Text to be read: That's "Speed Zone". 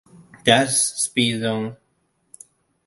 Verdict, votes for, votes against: accepted, 2, 0